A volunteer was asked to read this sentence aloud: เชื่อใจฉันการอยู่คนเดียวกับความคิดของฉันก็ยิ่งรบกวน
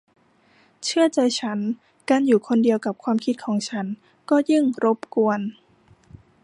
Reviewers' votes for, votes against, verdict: 2, 0, accepted